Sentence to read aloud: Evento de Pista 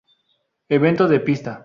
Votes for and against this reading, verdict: 2, 0, accepted